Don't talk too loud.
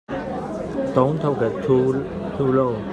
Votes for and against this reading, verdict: 1, 2, rejected